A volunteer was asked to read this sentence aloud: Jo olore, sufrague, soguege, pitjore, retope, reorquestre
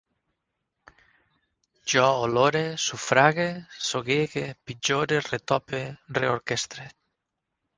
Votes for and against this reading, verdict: 6, 0, accepted